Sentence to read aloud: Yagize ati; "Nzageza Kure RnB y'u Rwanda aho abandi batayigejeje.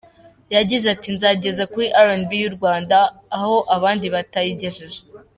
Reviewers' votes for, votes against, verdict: 1, 2, rejected